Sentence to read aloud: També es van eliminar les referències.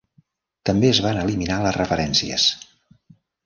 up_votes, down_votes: 3, 0